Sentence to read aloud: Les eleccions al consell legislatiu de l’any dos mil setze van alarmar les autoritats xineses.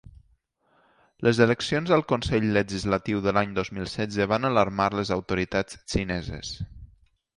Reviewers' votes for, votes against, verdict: 2, 0, accepted